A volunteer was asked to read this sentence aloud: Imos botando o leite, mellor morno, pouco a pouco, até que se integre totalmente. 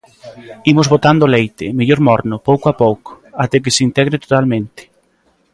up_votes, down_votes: 2, 0